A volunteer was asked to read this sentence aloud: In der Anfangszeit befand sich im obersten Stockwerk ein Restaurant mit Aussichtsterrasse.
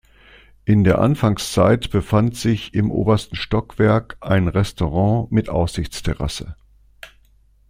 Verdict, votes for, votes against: accepted, 2, 0